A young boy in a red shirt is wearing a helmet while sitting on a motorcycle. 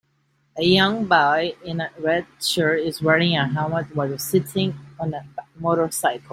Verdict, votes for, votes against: rejected, 0, 2